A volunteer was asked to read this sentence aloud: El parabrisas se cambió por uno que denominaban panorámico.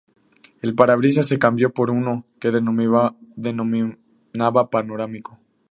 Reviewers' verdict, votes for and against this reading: rejected, 0, 2